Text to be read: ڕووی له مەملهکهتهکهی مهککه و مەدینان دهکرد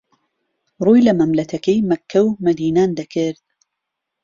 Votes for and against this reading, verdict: 1, 2, rejected